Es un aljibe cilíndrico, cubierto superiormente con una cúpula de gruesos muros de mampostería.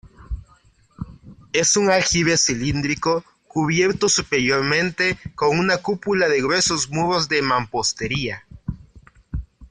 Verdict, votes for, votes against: accepted, 2, 1